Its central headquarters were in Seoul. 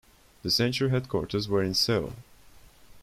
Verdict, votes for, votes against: rejected, 0, 2